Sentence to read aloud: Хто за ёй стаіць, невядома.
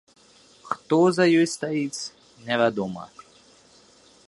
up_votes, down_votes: 2, 0